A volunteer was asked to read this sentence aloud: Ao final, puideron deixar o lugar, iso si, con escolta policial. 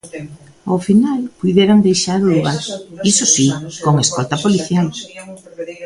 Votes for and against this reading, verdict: 0, 2, rejected